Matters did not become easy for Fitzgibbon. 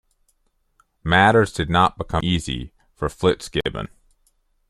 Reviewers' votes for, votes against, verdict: 1, 2, rejected